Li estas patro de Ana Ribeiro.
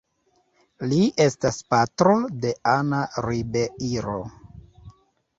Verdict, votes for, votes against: accepted, 2, 0